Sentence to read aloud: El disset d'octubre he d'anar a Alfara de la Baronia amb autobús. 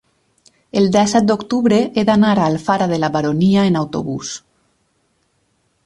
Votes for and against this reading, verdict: 2, 4, rejected